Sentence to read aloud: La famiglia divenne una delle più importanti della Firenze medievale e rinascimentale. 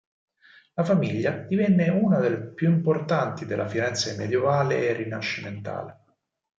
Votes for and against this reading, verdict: 4, 2, accepted